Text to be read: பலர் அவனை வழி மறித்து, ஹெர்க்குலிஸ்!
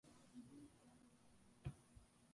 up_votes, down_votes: 1, 2